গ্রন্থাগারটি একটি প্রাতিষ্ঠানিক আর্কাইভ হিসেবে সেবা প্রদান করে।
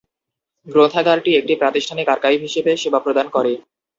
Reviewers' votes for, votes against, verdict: 2, 0, accepted